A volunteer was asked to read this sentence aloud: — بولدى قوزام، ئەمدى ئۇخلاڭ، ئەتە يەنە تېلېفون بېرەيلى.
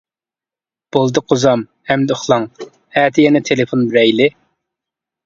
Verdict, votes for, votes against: rejected, 1, 2